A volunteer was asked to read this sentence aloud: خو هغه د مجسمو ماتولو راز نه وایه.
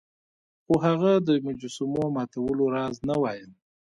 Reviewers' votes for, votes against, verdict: 2, 0, accepted